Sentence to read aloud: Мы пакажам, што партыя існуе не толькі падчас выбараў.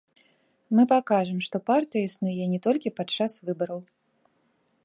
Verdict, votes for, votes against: accepted, 2, 0